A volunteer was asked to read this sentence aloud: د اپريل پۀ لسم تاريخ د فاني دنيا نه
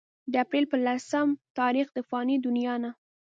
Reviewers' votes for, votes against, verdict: 2, 0, accepted